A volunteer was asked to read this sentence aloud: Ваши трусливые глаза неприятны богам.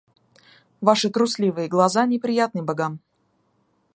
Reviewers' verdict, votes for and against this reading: accepted, 2, 0